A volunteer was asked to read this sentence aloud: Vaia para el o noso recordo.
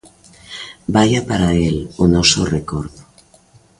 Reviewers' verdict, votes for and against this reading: accepted, 2, 1